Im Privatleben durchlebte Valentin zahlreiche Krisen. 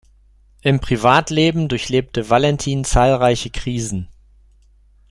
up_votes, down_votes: 2, 0